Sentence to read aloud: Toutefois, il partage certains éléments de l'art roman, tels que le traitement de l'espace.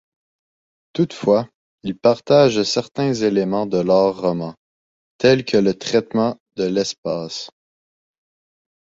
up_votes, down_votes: 2, 0